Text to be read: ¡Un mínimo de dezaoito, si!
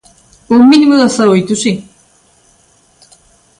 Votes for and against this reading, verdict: 2, 0, accepted